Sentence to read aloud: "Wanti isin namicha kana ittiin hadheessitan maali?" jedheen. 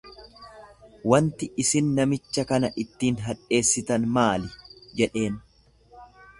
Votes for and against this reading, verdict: 2, 0, accepted